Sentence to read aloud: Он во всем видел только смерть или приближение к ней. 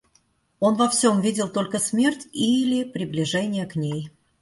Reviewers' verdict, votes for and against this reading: accepted, 2, 0